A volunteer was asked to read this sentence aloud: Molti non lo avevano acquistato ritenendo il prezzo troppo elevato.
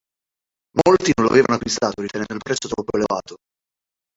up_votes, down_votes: 1, 3